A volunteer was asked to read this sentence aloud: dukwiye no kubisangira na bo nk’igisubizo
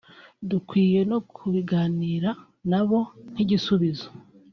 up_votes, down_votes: 2, 0